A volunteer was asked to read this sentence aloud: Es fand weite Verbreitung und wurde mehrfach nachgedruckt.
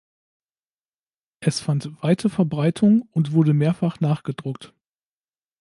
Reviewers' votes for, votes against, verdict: 2, 0, accepted